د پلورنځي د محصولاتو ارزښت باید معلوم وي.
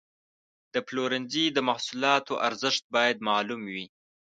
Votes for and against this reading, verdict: 2, 0, accepted